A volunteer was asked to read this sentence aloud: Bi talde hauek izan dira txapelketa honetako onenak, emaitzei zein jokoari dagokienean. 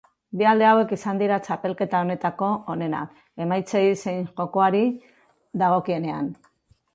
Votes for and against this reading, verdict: 0, 2, rejected